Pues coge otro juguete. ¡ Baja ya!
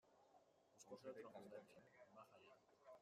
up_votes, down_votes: 0, 2